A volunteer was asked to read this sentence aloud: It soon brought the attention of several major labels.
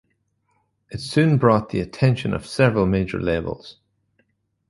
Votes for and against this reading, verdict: 2, 0, accepted